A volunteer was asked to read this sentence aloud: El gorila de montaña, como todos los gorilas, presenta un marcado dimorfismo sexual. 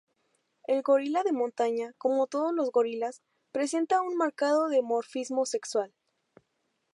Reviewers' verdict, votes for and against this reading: accepted, 2, 0